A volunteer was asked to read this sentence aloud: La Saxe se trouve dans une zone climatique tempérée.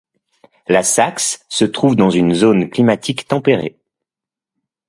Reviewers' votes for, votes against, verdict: 2, 0, accepted